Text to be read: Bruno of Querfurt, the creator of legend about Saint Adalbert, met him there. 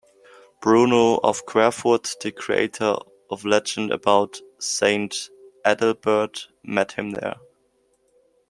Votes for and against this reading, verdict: 2, 0, accepted